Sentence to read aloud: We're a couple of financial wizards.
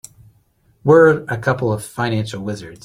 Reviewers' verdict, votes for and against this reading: accepted, 2, 0